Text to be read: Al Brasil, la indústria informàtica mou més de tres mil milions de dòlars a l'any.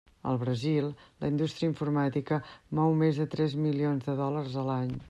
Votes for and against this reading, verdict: 1, 2, rejected